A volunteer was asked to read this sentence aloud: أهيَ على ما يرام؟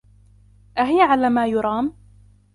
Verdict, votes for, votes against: rejected, 1, 2